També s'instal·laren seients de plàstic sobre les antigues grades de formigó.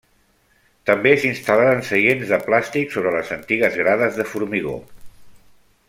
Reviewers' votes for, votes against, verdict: 2, 0, accepted